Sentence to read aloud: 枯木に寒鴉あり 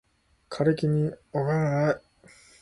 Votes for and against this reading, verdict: 0, 2, rejected